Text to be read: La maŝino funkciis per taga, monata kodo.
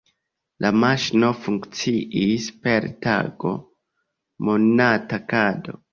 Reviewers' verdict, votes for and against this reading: rejected, 0, 2